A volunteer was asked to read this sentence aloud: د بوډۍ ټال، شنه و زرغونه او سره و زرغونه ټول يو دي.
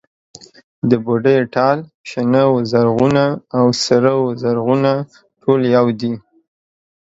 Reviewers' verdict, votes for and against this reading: accepted, 2, 0